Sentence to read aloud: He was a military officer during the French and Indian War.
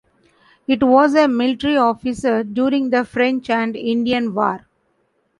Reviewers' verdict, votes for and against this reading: rejected, 1, 3